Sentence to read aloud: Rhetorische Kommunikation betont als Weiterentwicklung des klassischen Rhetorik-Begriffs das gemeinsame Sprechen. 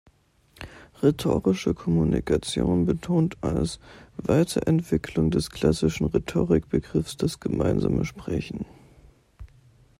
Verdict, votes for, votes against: accepted, 2, 0